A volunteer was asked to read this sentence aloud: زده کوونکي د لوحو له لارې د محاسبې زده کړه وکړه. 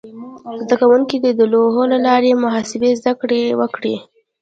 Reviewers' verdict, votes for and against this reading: accepted, 2, 0